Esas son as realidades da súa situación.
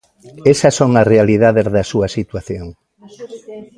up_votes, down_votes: 2, 0